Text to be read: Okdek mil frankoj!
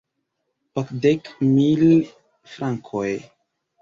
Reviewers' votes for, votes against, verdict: 2, 0, accepted